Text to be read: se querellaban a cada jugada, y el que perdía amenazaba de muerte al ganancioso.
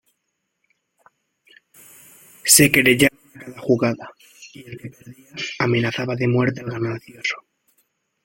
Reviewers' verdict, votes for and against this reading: rejected, 0, 2